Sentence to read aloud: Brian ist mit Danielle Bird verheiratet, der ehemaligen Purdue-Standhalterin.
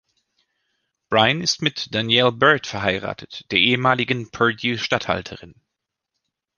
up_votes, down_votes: 2, 1